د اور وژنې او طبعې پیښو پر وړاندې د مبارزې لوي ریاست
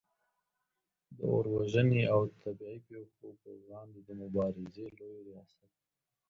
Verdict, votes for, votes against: rejected, 1, 2